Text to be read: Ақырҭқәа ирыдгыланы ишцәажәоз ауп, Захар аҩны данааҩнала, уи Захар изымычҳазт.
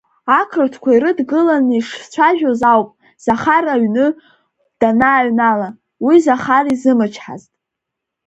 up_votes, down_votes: 1, 2